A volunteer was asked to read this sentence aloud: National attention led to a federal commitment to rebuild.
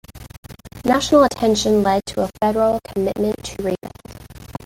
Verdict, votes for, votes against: rejected, 1, 2